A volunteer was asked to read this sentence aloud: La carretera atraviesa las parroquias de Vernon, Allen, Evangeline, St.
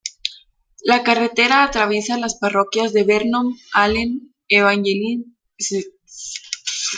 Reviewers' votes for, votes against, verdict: 1, 2, rejected